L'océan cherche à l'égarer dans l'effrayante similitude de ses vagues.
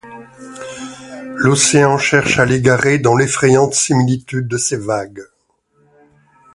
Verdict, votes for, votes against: accepted, 2, 0